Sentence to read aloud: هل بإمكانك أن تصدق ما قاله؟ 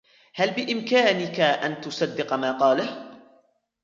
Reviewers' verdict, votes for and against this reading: rejected, 1, 2